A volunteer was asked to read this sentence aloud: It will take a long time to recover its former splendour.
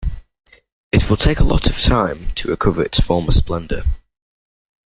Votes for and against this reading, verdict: 0, 2, rejected